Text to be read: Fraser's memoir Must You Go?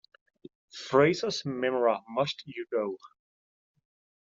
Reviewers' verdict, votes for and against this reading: rejected, 1, 2